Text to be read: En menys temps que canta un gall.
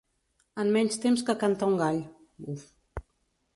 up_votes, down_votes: 0, 2